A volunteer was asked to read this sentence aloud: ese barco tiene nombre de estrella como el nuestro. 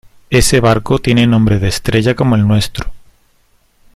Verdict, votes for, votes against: accepted, 2, 0